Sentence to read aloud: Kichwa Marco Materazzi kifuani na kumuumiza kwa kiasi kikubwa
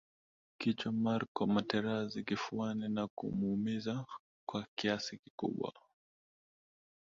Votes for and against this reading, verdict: 0, 2, rejected